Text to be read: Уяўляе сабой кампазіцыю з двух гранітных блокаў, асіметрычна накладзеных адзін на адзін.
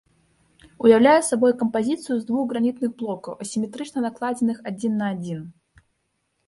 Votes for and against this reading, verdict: 2, 0, accepted